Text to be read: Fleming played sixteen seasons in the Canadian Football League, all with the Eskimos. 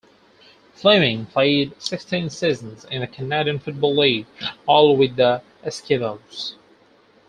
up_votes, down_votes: 0, 4